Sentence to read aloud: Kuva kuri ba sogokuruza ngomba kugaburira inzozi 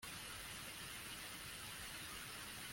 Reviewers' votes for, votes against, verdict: 1, 2, rejected